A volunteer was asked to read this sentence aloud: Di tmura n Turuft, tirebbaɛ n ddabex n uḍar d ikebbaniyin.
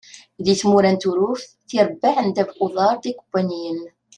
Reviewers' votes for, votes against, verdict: 2, 0, accepted